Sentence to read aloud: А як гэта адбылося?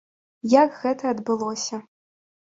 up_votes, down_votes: 0, 2